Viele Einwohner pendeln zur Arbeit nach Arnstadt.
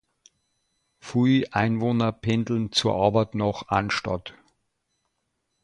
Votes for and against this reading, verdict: 0, 2, rejected